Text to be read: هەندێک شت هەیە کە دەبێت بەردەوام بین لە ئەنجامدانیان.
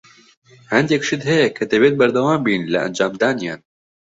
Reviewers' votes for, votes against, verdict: 2, 0, accepted